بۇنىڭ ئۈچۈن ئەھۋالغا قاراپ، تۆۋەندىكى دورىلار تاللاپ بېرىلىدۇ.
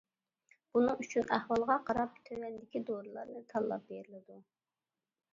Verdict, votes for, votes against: rejected, 0, 2